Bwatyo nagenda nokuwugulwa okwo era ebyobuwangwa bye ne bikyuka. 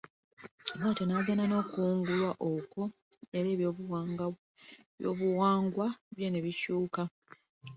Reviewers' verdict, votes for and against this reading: rejected, 1, 2